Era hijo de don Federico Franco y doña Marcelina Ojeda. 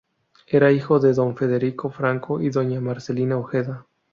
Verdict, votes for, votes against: accepted, 2, 0